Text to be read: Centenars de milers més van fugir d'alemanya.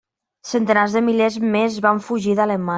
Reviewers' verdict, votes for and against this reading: rejected, 0, 2